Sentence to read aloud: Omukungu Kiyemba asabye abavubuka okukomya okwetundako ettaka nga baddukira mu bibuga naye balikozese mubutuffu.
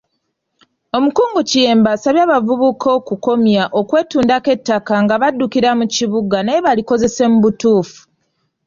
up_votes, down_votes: 2, 3